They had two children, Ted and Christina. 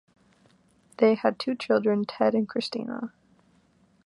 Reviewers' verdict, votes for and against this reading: accepted, 2, 0